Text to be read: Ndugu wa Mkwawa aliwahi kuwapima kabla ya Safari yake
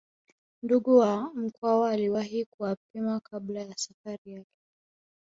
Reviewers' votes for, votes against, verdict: 2, 0, accepted